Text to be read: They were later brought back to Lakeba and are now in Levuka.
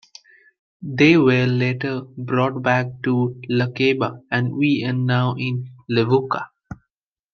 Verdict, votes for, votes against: rejected, 0, 2